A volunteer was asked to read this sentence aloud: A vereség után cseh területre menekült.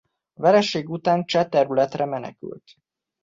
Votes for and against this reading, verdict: 2, 0, accepted